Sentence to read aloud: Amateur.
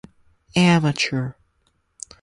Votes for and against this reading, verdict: 4, 0, accepted